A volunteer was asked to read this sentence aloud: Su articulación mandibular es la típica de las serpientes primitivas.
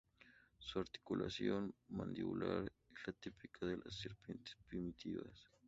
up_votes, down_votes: 0, 2